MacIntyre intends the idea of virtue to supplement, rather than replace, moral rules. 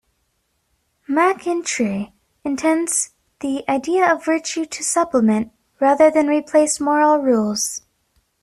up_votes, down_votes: 1, 2